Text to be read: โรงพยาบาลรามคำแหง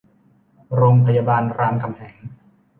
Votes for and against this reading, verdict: 2, 0, accepted